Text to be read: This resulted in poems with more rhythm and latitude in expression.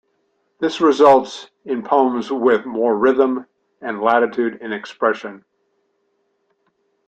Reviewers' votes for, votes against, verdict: 0, 2, rejected